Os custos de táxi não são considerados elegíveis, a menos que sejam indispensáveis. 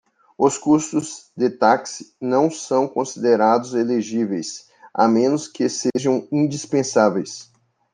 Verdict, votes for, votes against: accepted, 2, 0